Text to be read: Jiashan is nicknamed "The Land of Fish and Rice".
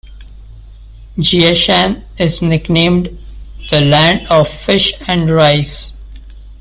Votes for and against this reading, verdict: 2, 0, accepted